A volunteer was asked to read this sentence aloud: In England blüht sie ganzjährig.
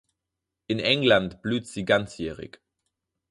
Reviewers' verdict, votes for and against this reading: accepted, 6, 0